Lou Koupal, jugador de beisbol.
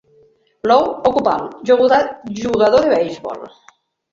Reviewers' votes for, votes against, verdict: 0, 2, rejected